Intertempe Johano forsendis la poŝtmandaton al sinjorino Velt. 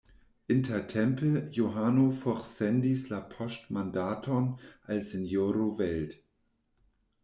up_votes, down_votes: 0, 2